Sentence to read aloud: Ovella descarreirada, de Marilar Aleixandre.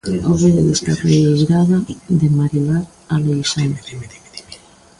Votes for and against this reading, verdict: 0, 2, rejected